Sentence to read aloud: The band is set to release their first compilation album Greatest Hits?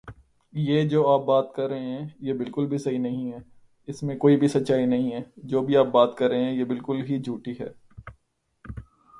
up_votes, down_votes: 0, 2